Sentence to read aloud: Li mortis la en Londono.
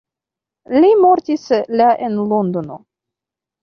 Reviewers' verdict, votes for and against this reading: accepted, 2, 0